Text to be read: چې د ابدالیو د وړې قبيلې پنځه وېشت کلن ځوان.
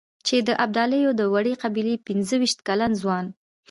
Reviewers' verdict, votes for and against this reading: accepted, 2, 1